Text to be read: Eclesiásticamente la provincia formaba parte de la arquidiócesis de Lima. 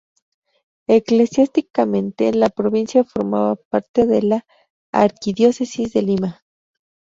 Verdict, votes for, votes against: accepted, 2, 0